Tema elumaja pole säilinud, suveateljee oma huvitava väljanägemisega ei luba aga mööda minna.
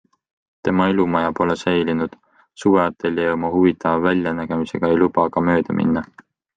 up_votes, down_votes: 2, 0